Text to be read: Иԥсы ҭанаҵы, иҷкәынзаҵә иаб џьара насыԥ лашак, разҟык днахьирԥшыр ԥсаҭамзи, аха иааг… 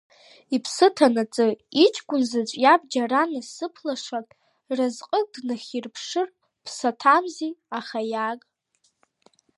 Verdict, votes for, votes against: accepted, 2, 1